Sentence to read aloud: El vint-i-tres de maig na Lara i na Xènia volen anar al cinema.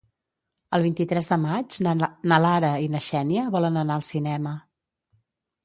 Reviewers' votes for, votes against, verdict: 0, 2, rejected